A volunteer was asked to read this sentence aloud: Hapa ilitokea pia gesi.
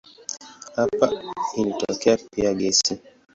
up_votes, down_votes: 13, 5